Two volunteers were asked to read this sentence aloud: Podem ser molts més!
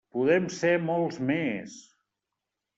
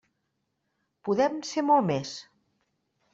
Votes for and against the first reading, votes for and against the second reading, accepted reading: 3, 0, 0, 2, first